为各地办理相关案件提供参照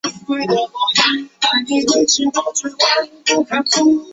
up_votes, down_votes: 1, 2